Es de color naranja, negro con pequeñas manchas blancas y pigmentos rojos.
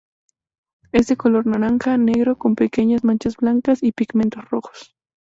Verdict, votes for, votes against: accepted, 2, 0